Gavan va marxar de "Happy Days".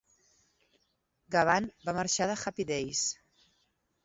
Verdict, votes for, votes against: accepted, 2, 0